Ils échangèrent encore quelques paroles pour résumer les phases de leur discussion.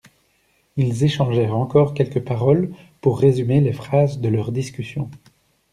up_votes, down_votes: 2, 0